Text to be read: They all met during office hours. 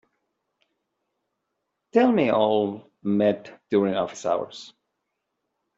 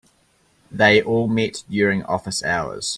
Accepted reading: second